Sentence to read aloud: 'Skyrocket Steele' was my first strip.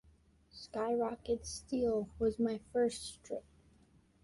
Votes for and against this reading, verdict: 2, 0, accepted